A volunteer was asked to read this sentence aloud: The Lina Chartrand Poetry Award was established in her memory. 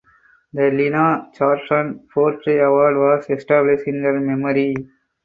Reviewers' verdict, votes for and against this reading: accepted, 4, 0